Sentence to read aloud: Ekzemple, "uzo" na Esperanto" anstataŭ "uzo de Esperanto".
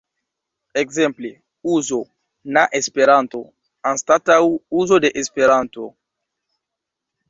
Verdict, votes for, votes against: rejected, 1, 2